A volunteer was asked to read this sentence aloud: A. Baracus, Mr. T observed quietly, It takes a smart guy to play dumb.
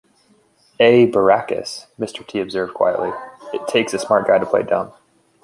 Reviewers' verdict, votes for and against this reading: accepted, 2, 0